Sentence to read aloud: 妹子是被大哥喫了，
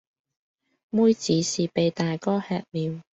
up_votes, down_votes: 0, 2